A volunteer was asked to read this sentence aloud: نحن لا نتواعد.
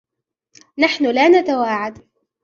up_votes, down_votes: 1, 2